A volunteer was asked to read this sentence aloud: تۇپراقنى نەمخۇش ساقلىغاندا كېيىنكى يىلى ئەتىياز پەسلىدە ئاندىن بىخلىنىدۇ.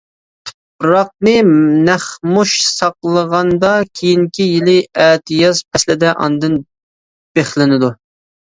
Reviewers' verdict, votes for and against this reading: rejected, 0, 2